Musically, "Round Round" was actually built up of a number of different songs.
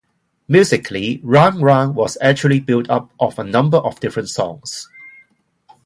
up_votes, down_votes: 2, 0